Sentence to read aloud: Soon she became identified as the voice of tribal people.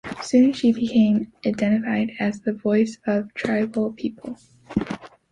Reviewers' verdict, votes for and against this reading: accepted, 2, 0